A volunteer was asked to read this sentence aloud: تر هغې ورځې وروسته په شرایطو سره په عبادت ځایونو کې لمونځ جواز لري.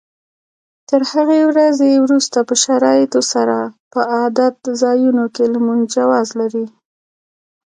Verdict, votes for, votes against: accepted, 2, 0